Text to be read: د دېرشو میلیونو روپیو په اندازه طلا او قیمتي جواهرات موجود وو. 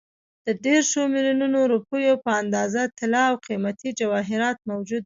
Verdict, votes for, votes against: rejected, 1, 2